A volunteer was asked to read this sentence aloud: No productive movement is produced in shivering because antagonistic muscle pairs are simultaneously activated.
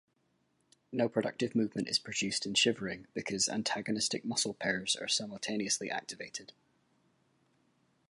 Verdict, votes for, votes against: accepted, 2, 0